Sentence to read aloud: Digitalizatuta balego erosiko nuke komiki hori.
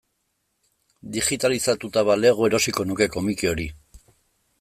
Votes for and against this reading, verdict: 2, 0, accepted